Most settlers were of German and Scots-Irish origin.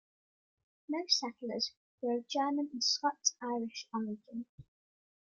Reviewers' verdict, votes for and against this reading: accepted, 2, 0